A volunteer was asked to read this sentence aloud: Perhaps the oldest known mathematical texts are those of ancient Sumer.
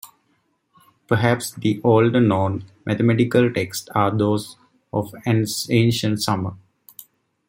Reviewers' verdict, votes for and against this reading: rejected, 1, 2